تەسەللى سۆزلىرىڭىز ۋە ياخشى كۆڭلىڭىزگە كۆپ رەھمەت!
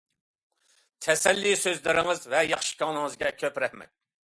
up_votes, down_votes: 2, 0